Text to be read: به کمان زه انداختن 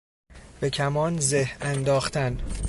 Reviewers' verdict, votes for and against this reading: accepted, 2, 0